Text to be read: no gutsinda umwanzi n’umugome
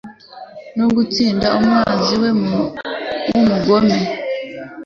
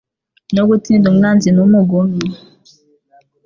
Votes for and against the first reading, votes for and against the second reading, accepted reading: 0, 2, 2, 1, second